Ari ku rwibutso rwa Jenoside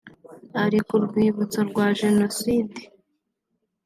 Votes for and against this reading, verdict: 3, 0, accepted